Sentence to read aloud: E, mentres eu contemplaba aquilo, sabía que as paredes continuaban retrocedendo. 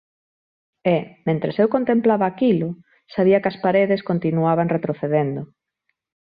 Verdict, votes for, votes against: accepted, 2, 0